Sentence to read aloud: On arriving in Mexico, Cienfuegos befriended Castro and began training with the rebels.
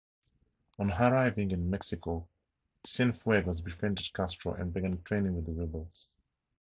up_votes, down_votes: 4, 0